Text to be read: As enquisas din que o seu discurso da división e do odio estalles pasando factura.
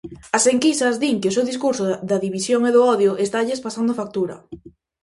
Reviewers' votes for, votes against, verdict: 0, 2, rejected